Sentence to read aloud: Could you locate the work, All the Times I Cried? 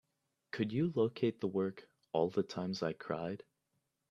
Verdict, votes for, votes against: accepted, 2, 0